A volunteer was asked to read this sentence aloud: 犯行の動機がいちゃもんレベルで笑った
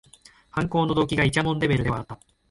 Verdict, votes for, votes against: rejected, 1, 2